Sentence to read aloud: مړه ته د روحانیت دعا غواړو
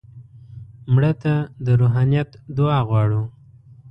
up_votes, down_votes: 2, 0